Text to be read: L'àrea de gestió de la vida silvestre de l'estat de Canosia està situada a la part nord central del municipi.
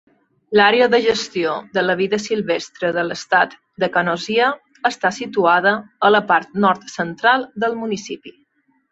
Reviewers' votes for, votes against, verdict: 2, 0, accepted